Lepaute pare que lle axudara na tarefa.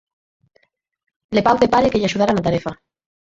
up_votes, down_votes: 0, 4